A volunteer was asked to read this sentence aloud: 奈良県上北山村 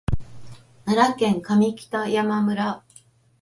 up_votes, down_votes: 5, 1